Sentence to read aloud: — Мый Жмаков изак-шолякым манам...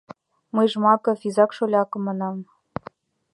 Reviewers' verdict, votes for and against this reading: accepted, 2, 0